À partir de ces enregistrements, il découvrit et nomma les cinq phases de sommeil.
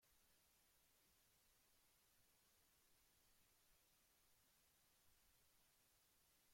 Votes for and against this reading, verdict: 0, 2, rejected